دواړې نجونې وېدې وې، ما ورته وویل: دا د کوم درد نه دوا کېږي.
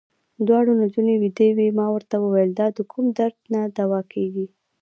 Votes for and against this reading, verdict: 1, 2, rejected